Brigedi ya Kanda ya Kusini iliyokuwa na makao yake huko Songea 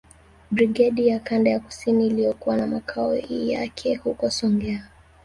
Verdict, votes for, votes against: rejected, 1, 2